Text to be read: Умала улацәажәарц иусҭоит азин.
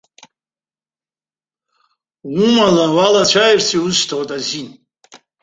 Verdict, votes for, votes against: accepted, 2, 1